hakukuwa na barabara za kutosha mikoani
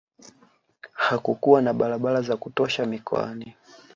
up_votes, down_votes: 1, 2